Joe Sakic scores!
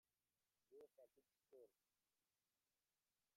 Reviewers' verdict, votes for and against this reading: rejected, 0, 2